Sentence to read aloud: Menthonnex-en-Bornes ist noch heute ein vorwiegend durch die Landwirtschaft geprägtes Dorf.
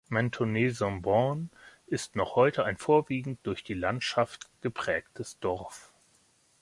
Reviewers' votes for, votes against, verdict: 1, 2, rejected